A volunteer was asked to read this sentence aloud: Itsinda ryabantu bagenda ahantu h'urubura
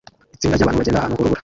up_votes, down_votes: 0, 2